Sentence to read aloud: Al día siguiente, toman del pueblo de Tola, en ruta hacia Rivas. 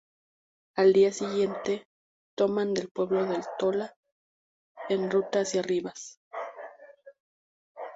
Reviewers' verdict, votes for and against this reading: rejected, 0, 2